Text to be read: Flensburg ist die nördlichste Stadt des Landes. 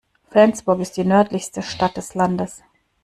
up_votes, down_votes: 2, 0